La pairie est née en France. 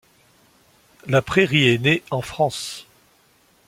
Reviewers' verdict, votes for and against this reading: rejected, 1, 2